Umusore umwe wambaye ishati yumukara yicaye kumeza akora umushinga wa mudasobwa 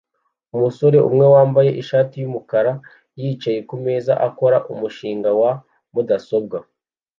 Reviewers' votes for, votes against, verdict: 2, 0, accepted